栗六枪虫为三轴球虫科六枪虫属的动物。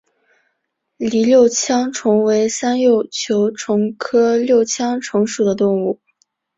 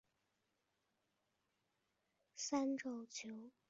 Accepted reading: first